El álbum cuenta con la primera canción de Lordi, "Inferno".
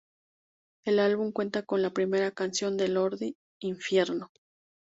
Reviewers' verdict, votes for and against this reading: rejected, 0, 2